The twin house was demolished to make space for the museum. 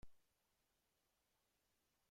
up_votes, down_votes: 0, 2